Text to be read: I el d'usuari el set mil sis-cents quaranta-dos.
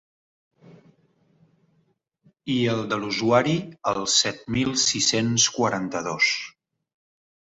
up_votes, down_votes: 1, 3